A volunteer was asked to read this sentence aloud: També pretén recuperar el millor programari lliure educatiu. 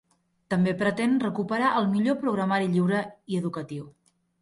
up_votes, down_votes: 0, 2